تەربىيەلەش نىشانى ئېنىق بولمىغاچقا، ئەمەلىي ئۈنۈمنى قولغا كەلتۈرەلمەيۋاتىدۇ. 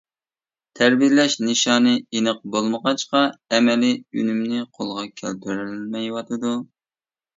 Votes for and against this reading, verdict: 1, 2, rejected